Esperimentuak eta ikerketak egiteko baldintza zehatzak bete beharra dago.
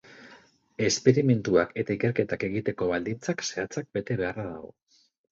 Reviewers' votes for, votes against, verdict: 0, 2, rejected